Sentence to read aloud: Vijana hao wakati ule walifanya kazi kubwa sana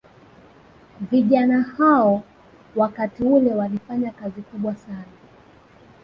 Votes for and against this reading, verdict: 2, 0, accepted